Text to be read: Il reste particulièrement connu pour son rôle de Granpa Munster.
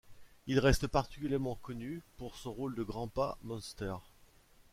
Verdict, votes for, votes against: accepted, 2, 1